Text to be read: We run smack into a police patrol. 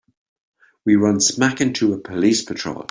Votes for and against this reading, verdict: 3, 0, accepted